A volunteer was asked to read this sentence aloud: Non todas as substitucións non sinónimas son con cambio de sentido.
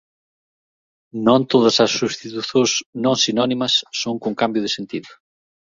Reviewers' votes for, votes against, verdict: 1, 2, rejected